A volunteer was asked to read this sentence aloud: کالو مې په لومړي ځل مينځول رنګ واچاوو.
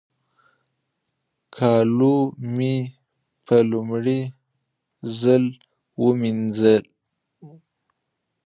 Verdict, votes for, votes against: rejected, 1, 3